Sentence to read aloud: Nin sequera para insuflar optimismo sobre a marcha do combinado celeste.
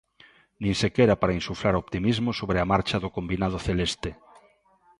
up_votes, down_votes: 2, 0